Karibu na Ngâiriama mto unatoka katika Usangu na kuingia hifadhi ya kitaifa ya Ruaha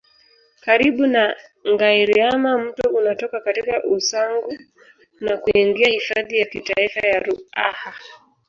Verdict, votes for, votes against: accepted, 2, 0